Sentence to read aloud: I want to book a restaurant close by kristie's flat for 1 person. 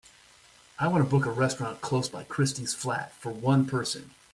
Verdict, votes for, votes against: rejected, 0, 2